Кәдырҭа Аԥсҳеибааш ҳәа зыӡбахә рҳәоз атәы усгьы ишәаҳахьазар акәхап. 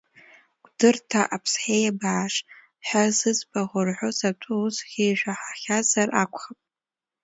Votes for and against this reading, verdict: 2, 0, accepted